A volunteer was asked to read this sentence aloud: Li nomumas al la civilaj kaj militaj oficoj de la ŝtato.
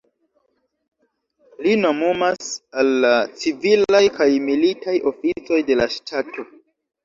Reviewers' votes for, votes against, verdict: 0, 2, rejected